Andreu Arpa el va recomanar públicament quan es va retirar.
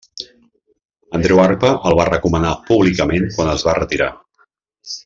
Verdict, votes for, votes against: accepted, 2, 0